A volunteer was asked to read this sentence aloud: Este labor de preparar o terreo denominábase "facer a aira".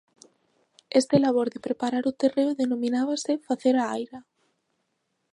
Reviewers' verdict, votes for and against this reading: accepted, 2, 0